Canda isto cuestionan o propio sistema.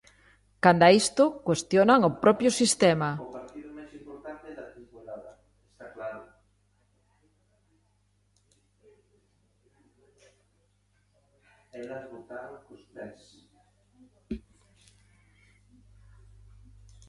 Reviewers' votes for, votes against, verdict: 0, 2, rejected